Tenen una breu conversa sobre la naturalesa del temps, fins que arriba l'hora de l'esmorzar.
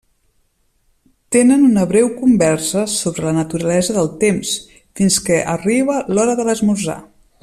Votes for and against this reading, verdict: 3, 0, accepted